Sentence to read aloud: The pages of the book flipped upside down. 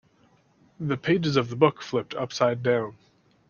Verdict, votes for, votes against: accepted, 2, 0